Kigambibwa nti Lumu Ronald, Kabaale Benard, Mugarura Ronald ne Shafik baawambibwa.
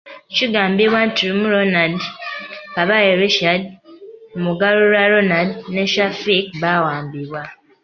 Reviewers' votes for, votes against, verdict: 0, 3, rejected